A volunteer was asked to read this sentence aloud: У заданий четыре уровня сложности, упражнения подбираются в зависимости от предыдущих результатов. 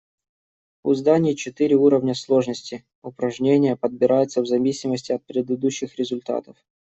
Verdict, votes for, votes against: rejected, 1, 2